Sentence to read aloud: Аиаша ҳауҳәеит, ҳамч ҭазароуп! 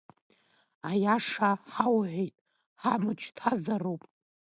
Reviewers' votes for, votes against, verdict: 2, 0, accepted